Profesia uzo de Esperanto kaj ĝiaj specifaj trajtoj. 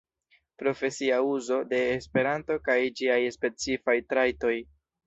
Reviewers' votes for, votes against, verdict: 2, 0, accepted